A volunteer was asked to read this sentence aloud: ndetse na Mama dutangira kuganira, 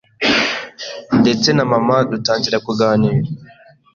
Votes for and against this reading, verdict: 2, 0, accepted